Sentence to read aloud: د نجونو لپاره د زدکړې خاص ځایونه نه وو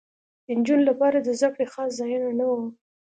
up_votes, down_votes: 2, 0